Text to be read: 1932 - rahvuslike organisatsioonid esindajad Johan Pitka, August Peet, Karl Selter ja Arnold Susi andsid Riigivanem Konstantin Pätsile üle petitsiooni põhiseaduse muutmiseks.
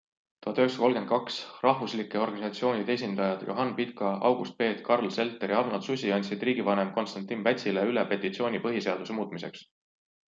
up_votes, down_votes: 0, 2